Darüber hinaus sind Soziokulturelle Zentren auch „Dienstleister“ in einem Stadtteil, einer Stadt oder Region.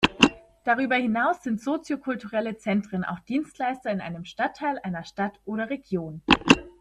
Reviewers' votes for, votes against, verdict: 2, 0, accepted